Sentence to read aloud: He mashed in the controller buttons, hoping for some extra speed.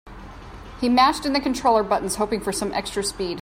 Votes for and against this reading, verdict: 2, 0, accepted